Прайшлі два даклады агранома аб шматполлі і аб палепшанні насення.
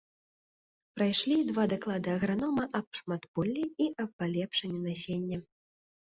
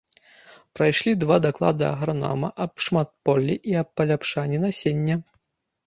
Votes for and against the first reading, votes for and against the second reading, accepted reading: 2, 0, 0, 2, first